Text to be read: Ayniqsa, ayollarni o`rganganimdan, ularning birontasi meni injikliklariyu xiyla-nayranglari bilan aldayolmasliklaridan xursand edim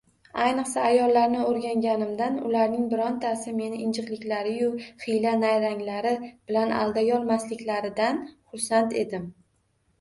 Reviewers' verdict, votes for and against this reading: rejected, 0, 2